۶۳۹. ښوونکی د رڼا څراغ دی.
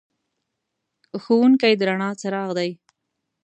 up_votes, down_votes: 0, 2